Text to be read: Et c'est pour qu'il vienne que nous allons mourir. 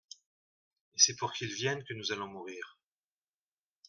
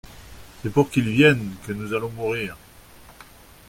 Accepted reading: first